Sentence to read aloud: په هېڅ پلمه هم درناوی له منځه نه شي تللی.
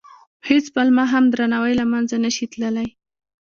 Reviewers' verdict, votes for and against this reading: accepted, 2, 1